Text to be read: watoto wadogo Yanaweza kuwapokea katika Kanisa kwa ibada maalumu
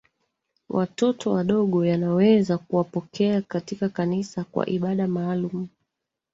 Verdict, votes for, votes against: rejected, 0, 2